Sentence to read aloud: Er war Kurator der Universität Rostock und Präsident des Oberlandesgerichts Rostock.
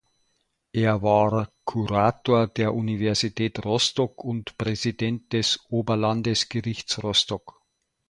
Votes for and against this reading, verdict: 2, 0, accepted